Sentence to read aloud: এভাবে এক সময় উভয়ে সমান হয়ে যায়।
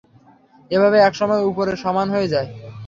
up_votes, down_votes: 0, 3